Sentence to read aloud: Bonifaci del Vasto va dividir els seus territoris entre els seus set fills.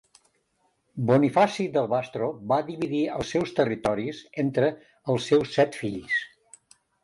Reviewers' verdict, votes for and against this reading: accepted, 4, 1